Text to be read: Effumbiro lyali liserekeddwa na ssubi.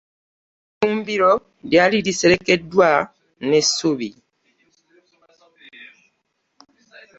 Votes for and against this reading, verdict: 0, 2, rejected